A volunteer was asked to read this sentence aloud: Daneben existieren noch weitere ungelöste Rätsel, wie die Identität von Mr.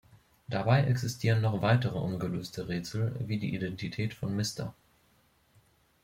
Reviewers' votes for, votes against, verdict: 0, 2, rejected